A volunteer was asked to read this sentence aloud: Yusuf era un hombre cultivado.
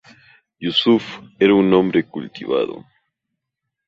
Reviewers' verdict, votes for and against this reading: accepted, 2, 0